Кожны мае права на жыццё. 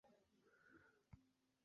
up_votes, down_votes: 2, 0